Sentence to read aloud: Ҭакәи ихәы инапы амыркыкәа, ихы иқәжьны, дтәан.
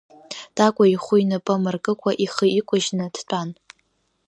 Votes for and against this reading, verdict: 0, 2, rejected